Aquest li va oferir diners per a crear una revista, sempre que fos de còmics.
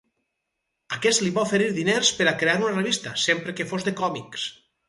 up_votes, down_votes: 4, 0